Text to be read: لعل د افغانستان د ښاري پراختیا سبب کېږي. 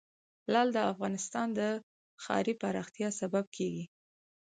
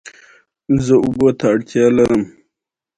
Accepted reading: first